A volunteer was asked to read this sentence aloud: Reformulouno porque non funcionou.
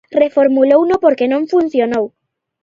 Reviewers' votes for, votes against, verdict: 2, 0, accepted